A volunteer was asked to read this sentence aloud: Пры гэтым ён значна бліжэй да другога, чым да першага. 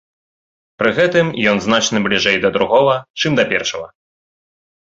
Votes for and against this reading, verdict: 1, 2, rejected